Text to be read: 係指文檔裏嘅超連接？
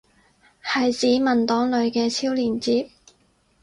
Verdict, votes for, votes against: accepted, 6, 0